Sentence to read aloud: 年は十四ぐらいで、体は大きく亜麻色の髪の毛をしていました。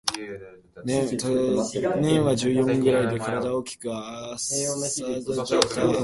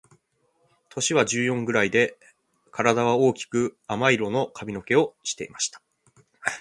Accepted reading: second